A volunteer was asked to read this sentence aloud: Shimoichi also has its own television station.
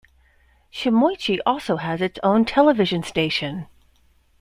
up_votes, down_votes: 2, 0